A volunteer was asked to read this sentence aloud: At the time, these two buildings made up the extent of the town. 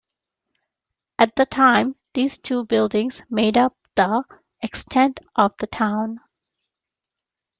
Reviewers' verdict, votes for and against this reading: accepted, 2, 0